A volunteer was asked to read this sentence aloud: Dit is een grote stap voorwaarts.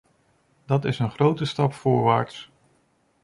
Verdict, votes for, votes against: rejected, 1, 2